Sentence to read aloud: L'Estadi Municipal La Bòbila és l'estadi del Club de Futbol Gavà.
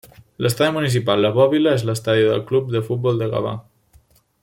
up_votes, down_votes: 1, 2